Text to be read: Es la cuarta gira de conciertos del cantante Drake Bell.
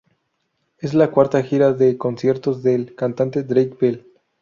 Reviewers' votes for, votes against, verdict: 2, 0, accepted